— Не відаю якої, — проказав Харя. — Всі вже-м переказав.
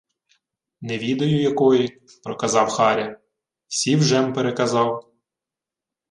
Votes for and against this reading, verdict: 2, 0, accepted